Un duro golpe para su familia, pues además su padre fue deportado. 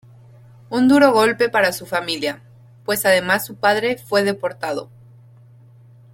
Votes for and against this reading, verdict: 2, 0, accepted